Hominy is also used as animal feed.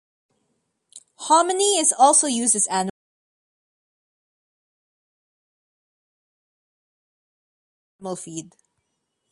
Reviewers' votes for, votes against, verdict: 0, 2, rejected